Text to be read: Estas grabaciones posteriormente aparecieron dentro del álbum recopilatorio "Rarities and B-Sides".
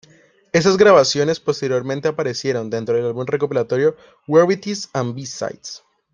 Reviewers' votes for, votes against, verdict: 0, 2, rejected